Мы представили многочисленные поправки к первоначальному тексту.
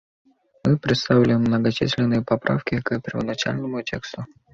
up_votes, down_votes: 2, 0